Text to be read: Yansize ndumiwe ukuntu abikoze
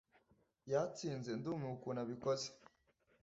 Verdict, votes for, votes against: rejected, 1, 2